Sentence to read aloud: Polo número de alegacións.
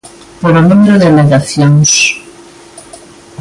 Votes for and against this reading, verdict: 0, 2, rejected